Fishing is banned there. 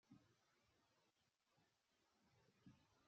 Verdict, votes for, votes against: rejected, 0, 2